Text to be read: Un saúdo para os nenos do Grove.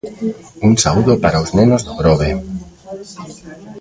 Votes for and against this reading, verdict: 1, 2, rejected